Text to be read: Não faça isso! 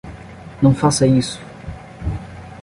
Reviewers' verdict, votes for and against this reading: accepted, 10, 0